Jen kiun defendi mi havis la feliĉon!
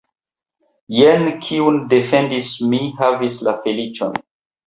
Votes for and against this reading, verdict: 1, 2, rejected